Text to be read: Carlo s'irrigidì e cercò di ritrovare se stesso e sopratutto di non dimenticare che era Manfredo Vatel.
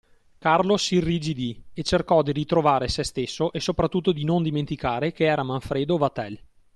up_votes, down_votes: 2, 0